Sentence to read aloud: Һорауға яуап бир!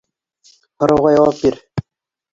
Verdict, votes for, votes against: rejected, 1, 2